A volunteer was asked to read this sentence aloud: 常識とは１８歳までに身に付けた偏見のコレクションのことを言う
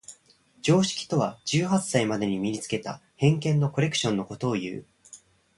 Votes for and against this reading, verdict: 0, 2, rejected